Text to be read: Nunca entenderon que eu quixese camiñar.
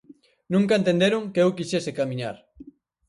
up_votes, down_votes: 4, 0